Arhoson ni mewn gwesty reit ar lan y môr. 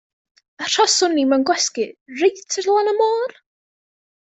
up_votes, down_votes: 1, 2